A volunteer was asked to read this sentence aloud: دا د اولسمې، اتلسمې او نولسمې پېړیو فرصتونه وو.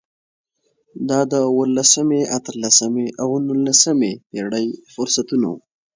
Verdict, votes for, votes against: accepted, 2, 0